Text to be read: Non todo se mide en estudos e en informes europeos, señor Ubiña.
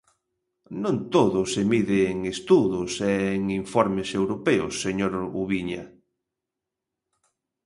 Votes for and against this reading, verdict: 0, 2, rejected